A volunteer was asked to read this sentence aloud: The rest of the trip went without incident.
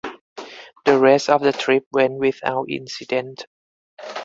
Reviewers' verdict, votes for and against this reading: accepted, 4, 0